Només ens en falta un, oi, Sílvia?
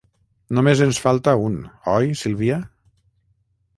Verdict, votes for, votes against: rejected, 0, 6